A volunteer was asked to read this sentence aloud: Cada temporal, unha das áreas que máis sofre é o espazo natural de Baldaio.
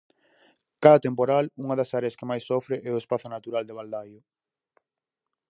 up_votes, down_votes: 4, 0